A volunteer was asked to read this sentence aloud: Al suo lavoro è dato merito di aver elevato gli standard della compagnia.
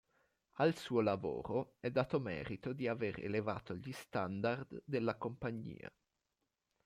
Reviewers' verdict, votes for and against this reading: accepted, 2, 0